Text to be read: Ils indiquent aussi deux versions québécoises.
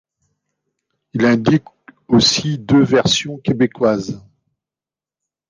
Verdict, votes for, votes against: rejected, 1, 2